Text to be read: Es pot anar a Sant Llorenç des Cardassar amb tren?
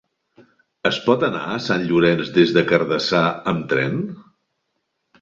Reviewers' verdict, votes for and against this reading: accepted, 3, 1